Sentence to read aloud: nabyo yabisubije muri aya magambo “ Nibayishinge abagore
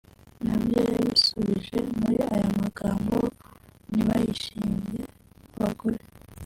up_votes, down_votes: 1, 2